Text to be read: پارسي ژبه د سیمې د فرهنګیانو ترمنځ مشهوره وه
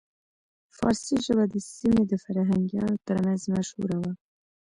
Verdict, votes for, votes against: rejected, 1, 2